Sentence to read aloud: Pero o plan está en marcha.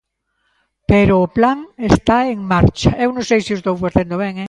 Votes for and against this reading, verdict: 1, 2, rejected